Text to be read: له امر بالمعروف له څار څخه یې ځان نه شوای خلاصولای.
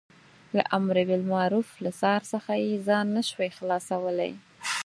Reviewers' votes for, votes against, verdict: 4, 0, accepted